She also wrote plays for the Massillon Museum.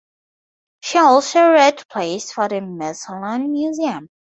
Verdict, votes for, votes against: rejected, 2, 2